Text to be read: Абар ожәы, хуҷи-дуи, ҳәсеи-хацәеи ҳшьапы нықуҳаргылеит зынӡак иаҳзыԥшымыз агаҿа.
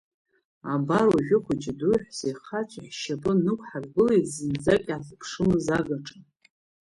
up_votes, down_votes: 1, 2